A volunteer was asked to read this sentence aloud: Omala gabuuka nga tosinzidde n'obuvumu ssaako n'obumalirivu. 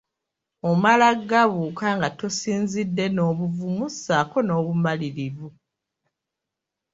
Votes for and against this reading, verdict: 0, 2, rejected